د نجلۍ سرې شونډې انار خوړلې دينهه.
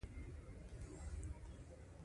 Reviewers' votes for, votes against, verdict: 2, 1, accepted